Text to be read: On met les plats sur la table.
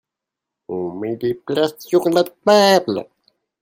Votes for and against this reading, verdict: 2, 1, accepted